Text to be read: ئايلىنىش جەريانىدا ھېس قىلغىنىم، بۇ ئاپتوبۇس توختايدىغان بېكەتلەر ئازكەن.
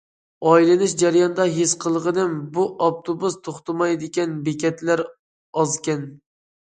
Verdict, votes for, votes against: rejected, 0, 2